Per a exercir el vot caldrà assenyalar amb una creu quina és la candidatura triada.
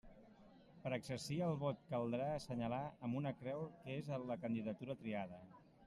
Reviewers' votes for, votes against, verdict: 1, 2, rejected